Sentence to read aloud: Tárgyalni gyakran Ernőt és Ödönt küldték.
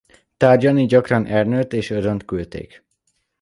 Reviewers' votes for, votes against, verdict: 2, 0, accepted